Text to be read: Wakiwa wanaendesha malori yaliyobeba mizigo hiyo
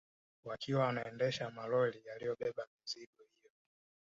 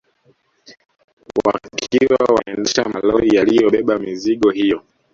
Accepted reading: first